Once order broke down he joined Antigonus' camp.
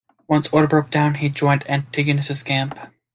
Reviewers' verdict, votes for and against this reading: accepted, 2, 0